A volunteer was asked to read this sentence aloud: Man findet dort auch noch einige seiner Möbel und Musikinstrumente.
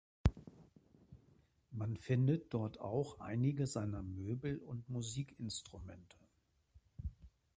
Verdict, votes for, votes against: rejected, 0, 2